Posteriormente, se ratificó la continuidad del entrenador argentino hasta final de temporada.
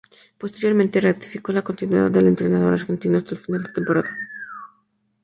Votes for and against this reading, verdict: 0, 2, rejected